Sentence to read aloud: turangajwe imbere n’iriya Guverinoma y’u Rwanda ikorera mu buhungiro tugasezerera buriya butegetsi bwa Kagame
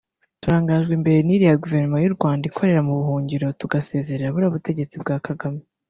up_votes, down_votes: 1, 2